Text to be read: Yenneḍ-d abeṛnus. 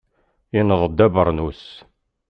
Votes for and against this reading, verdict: 2, 0, accepted